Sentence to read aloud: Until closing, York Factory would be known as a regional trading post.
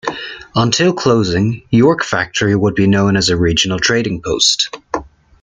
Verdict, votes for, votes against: accepted, 2, 0